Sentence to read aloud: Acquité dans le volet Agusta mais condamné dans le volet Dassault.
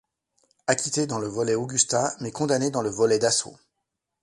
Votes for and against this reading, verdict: 0, 2, rejected